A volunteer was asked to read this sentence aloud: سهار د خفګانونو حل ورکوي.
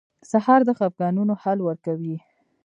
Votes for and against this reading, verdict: 2, 0, accepted